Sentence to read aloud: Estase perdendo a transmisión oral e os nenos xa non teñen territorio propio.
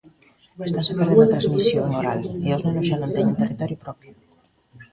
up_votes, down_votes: 1, 2